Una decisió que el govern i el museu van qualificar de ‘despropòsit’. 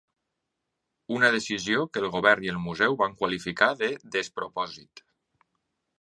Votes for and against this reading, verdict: 2, 0, accepted